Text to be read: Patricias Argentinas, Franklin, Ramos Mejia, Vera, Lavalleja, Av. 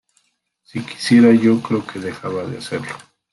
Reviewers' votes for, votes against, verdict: 0, 2, rejected